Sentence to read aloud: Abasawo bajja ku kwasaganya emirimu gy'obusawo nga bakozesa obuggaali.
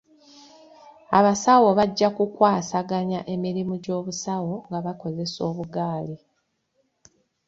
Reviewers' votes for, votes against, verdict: 2, 1, accepted